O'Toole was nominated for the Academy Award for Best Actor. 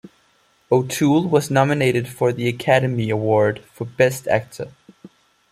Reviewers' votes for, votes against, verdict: 1, 2, rejected